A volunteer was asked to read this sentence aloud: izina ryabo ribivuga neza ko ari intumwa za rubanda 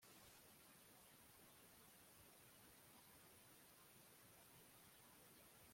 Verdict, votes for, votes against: rejected, 1, 2